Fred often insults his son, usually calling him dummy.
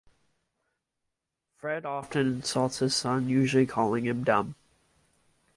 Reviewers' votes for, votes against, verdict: 1, 2, rejected